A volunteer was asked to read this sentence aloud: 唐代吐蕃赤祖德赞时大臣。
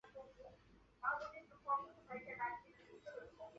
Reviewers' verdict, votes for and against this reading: rejected, 2, 5